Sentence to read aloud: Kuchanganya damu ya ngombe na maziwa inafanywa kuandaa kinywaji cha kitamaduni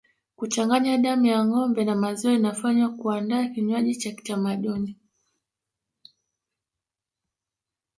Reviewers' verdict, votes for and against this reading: rejected, 0, 2